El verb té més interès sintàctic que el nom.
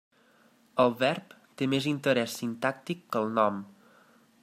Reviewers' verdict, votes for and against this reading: accepted, 2, 0